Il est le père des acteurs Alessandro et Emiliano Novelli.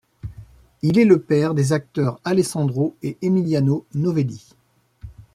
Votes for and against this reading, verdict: 2, 0, accepted